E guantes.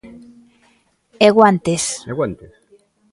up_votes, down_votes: 0, 2